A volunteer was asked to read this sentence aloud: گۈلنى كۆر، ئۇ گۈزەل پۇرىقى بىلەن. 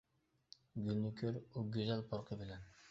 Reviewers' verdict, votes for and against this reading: rejected, 0, 2